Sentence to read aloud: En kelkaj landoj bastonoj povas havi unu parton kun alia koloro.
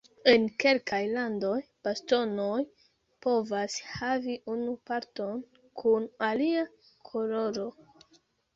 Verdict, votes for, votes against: rejected, 0, 2